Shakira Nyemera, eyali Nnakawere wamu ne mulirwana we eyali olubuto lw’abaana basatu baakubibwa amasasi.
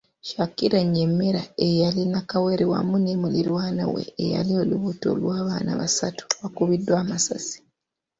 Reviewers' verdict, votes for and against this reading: accepted, 2, 0